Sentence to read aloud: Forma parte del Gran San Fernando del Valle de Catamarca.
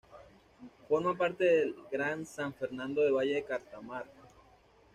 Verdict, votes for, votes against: rejected, 1, 2